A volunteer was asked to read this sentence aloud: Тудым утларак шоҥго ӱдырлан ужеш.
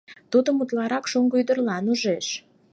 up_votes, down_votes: 6, 0